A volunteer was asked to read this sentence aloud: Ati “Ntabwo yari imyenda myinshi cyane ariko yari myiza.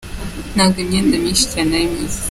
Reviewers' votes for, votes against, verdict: 0, 2, rejected